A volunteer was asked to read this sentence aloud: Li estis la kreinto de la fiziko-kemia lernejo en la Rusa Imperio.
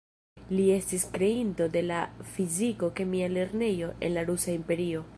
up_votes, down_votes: 1, 2